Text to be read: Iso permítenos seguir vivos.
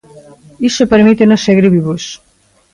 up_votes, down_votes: 1, 2